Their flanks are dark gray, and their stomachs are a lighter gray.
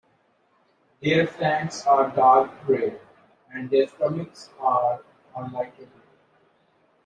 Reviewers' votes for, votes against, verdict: 2, 0, accepted